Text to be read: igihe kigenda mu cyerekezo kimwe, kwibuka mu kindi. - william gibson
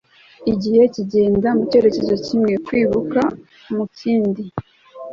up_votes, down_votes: 0, 2